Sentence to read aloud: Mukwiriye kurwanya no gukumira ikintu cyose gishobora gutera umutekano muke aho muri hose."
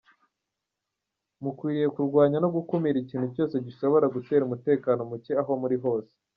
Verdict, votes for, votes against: accepted, 2, 0